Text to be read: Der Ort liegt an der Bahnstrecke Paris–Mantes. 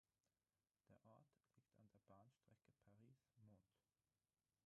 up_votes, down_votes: 0, 6